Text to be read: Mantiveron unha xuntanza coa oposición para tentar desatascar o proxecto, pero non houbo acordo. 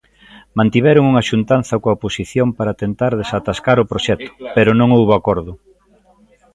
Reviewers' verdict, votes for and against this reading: accepted, 2, 1